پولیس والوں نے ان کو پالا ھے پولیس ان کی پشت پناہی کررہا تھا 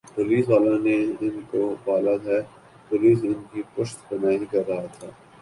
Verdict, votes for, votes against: accepted, 3, 1